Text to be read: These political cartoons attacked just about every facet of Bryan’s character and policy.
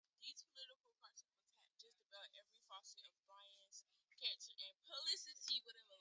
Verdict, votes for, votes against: rejected, 0, 2